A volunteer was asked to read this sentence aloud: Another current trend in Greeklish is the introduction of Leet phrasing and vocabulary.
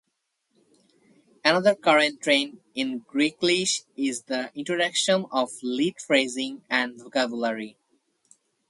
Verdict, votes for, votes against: accepted, 4, 0